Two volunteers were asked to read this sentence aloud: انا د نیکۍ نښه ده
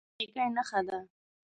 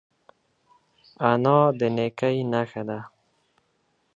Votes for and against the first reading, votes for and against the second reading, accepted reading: 0, 2, 3, 0, second